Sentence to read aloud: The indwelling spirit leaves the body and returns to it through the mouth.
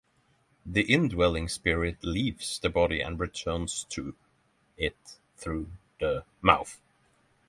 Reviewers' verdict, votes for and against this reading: rejected, 3, 3